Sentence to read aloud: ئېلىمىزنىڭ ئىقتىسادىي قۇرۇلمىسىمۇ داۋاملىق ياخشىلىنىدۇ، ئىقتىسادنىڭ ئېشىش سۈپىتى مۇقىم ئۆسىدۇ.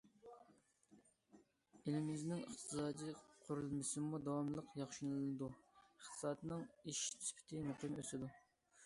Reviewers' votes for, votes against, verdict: 2, 0, accepted